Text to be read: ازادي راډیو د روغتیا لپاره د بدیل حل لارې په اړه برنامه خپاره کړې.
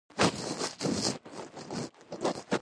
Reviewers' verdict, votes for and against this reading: rejected, 1, 2